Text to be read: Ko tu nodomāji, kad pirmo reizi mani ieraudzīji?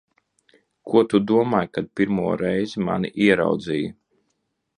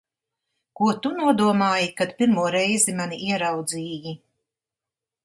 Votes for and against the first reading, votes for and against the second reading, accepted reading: 0, 2, 2, 0, second